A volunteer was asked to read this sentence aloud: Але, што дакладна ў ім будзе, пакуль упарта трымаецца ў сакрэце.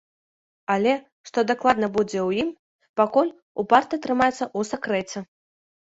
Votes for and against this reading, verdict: 1, 2, rejected